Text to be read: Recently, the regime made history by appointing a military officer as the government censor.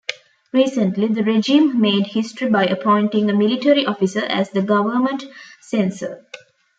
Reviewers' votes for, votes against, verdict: 1, 2, rejected